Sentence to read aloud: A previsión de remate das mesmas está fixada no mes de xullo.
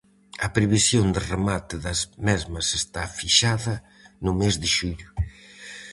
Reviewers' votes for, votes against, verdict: 4, 0, accepted